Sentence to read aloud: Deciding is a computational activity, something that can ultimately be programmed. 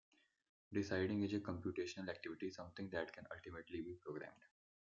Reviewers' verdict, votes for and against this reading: rejected, 0, 2